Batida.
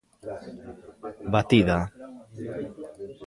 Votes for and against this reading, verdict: 0, 2, rejected